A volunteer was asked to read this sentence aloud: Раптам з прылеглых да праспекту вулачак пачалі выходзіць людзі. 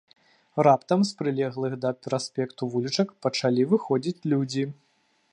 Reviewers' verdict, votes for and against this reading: rejected, 0, 2